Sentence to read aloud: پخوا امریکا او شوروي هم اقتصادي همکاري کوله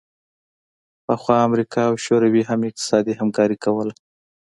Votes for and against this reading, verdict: 2, 0, accepted